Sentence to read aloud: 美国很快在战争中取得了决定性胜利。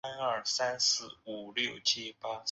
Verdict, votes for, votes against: rejected, 0, 2